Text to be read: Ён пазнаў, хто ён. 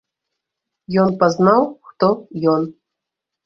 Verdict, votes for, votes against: accepted, 2, 0